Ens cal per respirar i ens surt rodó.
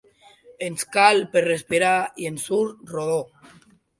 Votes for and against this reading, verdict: 4, 0, accepted